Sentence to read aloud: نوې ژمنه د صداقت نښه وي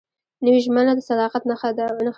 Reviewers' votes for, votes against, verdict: 2, 0, accepted